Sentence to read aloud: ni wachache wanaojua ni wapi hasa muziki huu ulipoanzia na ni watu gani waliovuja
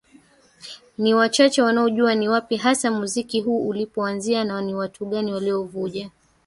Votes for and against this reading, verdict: 1, 3, rejected